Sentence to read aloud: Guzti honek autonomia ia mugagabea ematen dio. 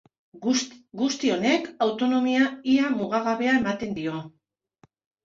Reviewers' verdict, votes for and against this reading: rejected, 2, 2